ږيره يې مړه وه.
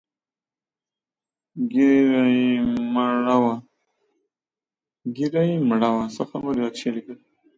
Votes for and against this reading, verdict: 0, 2, rejected